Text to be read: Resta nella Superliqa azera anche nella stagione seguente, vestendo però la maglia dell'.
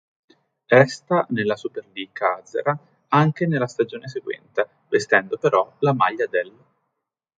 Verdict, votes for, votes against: rejected, 1, 2